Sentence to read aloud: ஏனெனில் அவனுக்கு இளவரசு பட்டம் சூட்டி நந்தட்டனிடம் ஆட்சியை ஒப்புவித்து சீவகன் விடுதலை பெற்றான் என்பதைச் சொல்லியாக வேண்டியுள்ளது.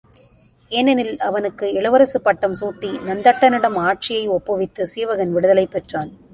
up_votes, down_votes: 0, 2